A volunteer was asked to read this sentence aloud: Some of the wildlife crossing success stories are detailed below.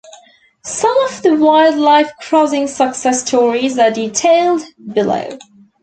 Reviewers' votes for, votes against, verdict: 2, 0, accepted